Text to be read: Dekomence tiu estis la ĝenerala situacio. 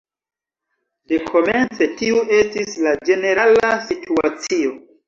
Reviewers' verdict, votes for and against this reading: accepted, 2, 1